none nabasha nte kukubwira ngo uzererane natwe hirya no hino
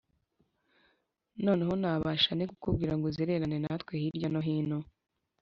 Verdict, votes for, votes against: rejected, 1, 2